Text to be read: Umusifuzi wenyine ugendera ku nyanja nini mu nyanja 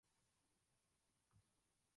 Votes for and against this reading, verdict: 0, 2, rejected